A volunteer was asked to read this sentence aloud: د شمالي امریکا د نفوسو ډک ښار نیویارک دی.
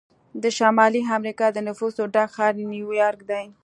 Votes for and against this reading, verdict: 2, 0, accepted